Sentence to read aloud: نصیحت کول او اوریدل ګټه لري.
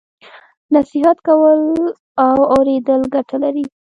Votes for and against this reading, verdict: 2, 0, accepted